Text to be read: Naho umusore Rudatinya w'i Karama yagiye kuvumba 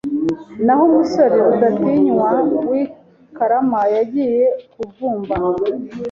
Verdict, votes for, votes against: accepted, 2, 0